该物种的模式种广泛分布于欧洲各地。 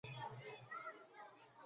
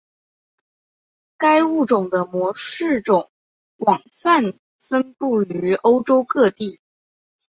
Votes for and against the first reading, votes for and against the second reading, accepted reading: 0, 3, 5, 1, second